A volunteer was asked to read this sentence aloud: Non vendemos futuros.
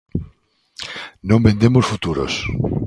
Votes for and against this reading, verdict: 2, 0, accepted